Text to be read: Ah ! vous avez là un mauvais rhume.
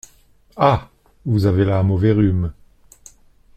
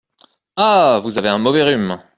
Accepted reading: first